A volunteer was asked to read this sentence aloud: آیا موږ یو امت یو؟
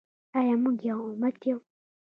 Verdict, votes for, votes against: accepted, 2, 0